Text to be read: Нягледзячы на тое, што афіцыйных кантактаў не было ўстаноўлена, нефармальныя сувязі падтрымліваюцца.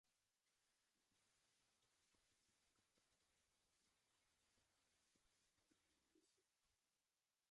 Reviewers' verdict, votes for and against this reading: rejected, 0, 2